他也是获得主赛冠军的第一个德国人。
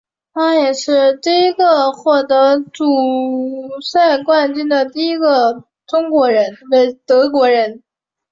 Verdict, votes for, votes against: rejected, 1, 2